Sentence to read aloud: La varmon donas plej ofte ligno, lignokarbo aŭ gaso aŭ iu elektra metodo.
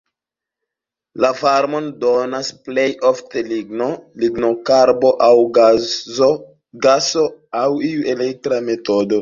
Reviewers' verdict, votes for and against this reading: rejected, 0, 2